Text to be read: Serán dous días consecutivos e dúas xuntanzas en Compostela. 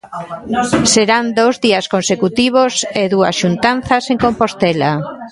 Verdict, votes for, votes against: rejected, 0, 2